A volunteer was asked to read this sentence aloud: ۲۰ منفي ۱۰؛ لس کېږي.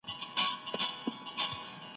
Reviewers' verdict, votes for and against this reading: rejected, 0, 2